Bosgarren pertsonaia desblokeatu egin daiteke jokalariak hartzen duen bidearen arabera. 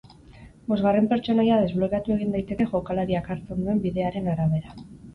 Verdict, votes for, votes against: accepted, 4, 0